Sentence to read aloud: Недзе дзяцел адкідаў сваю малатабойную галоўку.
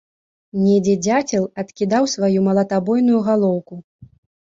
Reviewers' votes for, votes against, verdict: 3, 0, accepted